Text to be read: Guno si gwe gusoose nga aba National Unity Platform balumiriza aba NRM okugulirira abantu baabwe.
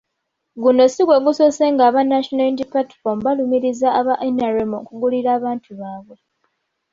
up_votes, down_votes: 2, 0